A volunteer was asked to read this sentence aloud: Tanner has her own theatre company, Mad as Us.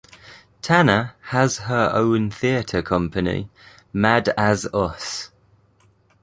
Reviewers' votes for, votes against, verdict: 2, 0, accepted